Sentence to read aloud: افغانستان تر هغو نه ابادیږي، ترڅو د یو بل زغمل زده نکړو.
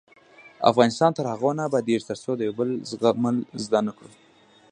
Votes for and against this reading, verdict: 1, 2, rejected